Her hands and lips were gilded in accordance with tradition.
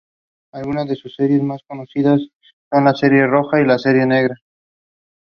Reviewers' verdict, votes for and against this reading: rejected, 0, 2